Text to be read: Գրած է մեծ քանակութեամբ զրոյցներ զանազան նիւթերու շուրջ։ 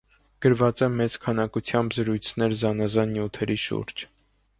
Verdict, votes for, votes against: rejected, 1, 2